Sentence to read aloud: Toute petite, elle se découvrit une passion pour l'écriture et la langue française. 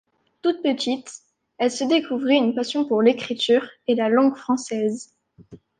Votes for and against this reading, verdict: 2, 0, accepted